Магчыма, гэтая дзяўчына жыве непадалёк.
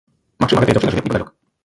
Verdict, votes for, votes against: rejected, 0, 2